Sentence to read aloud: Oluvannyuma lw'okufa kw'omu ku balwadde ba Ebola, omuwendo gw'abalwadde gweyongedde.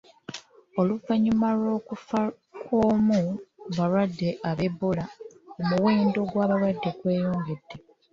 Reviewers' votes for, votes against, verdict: 1, 2, rejected